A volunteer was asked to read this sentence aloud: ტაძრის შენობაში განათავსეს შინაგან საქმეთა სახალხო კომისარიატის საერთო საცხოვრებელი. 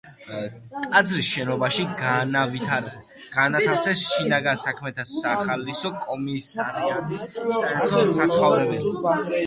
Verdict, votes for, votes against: rejected, 0, 2